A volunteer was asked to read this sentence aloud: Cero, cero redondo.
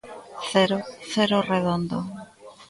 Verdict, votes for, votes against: accepted, 3, 0